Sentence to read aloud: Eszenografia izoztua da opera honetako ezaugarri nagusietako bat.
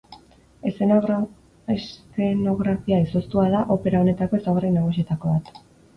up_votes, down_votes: 0, 2